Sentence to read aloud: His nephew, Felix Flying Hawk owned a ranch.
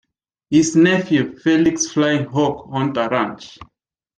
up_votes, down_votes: 0, 2